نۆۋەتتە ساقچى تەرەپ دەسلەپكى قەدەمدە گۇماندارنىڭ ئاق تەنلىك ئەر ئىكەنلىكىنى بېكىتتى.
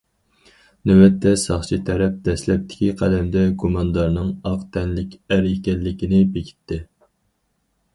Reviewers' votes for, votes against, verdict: 0, 4, rejected